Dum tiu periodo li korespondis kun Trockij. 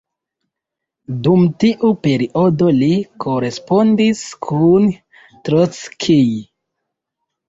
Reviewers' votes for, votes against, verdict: 2, 1, accepted